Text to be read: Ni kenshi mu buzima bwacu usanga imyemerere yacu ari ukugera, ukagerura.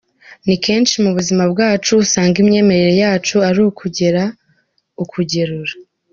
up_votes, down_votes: 2, 0